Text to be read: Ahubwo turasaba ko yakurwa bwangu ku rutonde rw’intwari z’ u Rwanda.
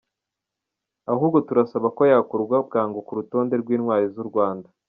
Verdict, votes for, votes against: rejected, 1, 2